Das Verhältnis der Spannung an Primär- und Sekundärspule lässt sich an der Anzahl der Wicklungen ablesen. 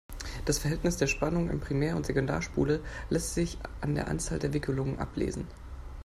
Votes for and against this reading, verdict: 1, 2, rejected